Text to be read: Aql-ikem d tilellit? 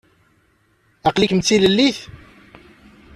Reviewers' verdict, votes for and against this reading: accepted, 2, 0